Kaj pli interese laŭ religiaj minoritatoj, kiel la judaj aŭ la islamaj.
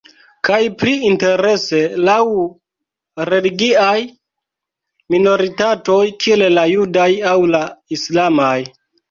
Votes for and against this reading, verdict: 1, 2, rejected